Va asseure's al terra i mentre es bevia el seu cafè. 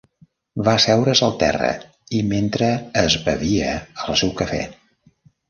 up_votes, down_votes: 2, 0